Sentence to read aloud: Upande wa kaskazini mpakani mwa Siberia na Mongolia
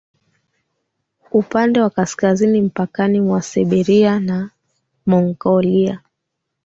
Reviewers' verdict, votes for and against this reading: rejected, 3, 3